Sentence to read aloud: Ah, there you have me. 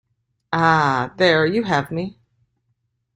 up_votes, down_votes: 2, 0